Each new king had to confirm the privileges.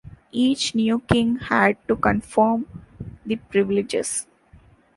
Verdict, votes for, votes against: accepted, 2, 0